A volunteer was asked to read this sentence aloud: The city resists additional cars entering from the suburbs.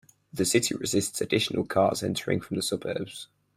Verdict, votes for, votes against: accepted, 4, 0